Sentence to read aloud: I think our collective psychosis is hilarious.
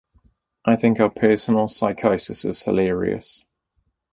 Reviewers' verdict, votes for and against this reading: rejected, 0, 2